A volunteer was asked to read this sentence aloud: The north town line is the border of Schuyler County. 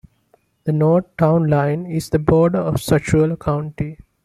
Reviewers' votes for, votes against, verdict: 0, 2, rejected